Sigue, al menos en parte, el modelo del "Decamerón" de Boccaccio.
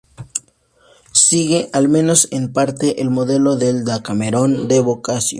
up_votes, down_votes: 0, 2